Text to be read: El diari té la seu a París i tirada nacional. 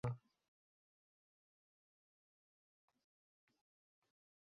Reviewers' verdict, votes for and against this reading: rejected, 0, 2